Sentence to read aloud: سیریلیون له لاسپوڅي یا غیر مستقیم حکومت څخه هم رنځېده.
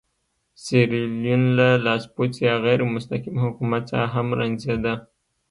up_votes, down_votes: 2, 0